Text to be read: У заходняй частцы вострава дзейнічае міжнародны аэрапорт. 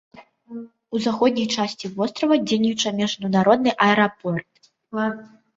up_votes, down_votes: 1, 2